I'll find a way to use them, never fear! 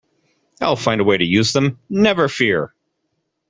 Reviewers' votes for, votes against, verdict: 2, 0, accepted